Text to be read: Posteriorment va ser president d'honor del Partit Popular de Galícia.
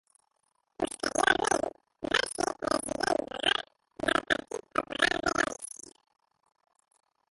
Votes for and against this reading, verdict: 0, 6, rejected